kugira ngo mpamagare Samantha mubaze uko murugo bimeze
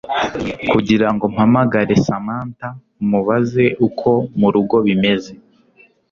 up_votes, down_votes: 2, 0